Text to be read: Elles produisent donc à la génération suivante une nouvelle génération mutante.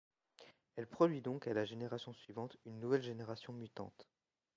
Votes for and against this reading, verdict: 1, 2, rejected